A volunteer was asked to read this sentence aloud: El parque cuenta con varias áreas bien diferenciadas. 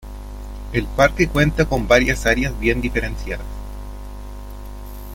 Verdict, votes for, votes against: accepted, 2, 0